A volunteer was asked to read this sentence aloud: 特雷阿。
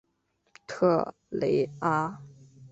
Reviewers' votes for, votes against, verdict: 2, 0, accepted